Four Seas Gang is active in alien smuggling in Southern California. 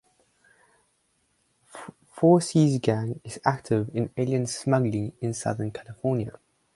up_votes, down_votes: 0, 4